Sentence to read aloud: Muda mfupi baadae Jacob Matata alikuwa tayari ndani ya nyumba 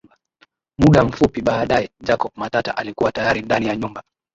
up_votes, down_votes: 2, 0